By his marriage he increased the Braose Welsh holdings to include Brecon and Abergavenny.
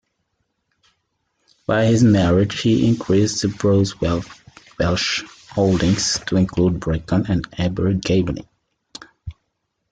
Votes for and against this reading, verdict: 0, 2, rejected